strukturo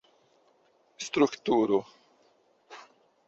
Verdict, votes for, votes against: rejected, 0, 2